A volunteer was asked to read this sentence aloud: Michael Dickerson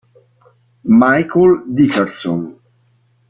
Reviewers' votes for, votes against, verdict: 2, 0, accepted